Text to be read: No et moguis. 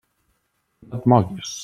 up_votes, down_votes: 1, 2